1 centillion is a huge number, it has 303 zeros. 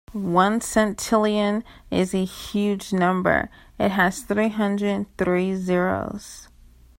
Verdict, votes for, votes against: rejected, 0, 2